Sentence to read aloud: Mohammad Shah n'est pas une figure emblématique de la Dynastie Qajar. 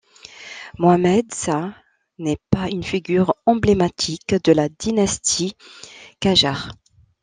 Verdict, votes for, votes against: rejected, 1, 2